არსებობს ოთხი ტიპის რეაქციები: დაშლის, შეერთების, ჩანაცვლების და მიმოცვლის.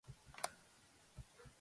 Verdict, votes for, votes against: rejected, 0, 2